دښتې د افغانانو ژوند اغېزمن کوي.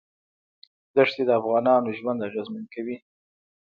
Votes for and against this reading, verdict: 1, 2, rejected